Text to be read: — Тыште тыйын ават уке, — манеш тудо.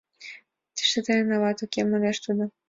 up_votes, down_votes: 2, 1